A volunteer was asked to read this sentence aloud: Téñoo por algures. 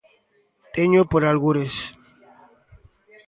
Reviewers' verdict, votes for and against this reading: rejected, 1, 2